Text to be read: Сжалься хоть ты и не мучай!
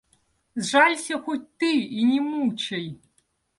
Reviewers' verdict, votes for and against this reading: accepted, 2, 0